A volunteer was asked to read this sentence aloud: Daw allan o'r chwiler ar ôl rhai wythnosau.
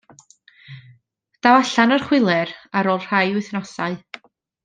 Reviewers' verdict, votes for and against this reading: accepted, 2, 0